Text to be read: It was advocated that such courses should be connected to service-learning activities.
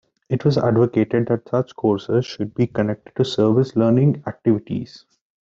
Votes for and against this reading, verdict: 2, 0, accepted